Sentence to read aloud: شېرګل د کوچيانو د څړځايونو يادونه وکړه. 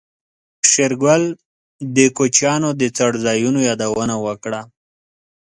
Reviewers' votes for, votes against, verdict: 2, 0, accepted